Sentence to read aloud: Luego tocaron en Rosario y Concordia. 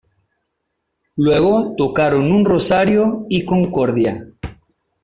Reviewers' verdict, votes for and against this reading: rejected, 1, 2